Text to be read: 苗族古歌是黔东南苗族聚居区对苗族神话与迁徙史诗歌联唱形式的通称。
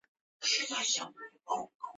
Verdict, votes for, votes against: rejected, 1, 2